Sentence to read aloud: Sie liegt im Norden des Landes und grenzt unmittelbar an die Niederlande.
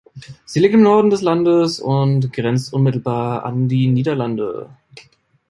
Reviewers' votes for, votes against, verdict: 1, 2, rejected